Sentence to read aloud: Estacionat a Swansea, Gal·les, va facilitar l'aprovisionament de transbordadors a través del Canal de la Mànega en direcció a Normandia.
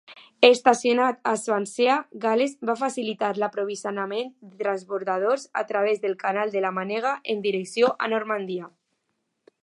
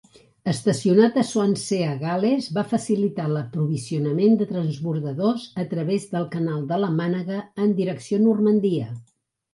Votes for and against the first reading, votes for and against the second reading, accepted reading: 0, 2, 5, 0, second